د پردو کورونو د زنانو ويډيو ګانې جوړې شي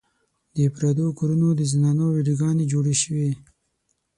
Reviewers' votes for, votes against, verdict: 3, 6, rejected